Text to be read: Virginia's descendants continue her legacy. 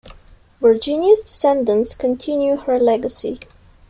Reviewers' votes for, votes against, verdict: 2, 0, accepted